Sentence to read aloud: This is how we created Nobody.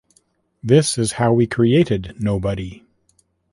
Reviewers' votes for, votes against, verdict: 2, 0, accepted